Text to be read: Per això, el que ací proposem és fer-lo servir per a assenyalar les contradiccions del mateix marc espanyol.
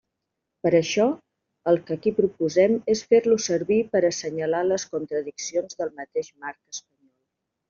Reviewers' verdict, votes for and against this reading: accepted, 2, 0